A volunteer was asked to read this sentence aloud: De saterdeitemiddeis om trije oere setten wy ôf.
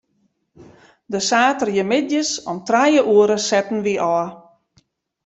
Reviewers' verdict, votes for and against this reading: accepted, 2, 1